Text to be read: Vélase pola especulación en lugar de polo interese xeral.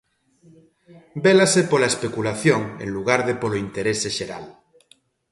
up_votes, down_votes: 2, 0